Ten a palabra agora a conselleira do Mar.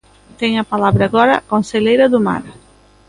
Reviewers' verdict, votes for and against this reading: accepted, 2, 1